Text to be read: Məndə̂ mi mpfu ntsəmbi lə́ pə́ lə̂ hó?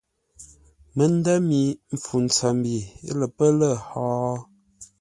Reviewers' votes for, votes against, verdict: 2, 0, accepted